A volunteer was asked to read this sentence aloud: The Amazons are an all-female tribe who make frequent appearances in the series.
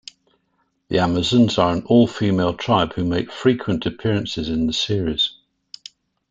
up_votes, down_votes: 2, 0